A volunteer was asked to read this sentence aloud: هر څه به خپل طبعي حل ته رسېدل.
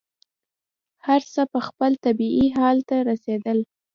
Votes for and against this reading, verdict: 0, 2, rejected